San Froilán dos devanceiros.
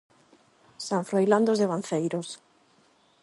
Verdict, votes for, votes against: accepted, 8, 0